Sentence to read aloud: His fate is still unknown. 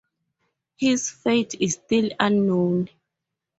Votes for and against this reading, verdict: 4, 0, accepted